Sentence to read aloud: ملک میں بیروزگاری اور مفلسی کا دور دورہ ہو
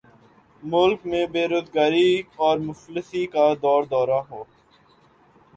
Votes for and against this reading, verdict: 4, 1, accepted